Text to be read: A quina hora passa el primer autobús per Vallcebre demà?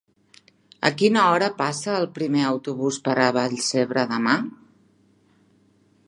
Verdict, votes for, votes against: rejected, 1, 2